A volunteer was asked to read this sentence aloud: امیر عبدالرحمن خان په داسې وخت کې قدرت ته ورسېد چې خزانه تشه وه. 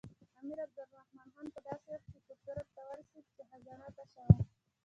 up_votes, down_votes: 0, 2